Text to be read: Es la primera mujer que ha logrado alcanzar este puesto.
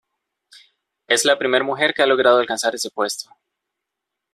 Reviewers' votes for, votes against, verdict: 0, 2, rejected